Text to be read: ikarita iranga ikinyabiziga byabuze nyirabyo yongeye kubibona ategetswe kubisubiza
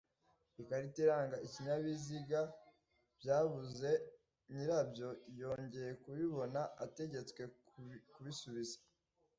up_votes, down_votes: 0, 2